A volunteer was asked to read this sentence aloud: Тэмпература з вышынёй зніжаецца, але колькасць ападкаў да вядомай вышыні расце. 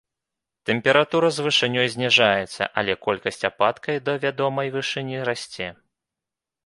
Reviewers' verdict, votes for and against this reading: rejected, 1, 2